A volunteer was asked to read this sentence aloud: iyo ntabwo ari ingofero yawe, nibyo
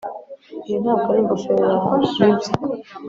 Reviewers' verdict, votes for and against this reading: accepted, 2, 0